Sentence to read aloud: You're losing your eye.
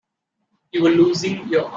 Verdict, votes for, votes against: rejected, 0, 2